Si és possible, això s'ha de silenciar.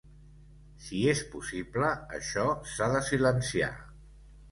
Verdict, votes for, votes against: accepted, 2, 0